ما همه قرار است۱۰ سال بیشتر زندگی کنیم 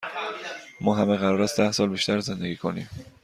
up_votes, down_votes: 0, 2